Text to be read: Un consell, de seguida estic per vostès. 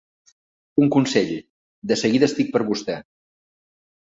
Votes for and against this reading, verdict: 1, 2, rejected